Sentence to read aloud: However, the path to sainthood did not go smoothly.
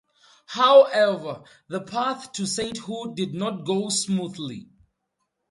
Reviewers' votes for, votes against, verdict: 4, 0, accepted